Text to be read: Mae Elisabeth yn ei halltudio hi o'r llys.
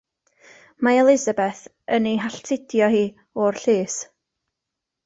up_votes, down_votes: 2, 0